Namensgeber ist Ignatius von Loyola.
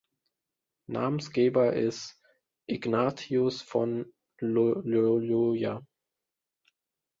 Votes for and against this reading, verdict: 0, 2, rejected